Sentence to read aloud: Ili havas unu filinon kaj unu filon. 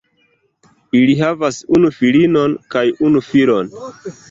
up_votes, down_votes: 2, 0